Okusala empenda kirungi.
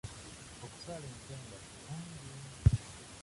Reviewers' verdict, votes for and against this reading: rejected, 0, 2